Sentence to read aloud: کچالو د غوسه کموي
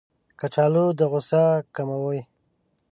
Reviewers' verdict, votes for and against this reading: rejected, 1, 2